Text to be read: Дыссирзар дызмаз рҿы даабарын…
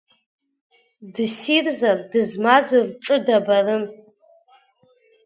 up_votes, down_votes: 2, 0